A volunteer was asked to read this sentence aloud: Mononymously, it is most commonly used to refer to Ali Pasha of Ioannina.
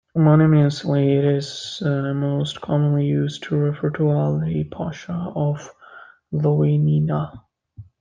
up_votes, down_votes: 0, 2